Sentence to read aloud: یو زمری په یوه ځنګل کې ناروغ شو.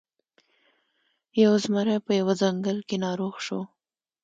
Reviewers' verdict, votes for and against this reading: accepted, 2, 0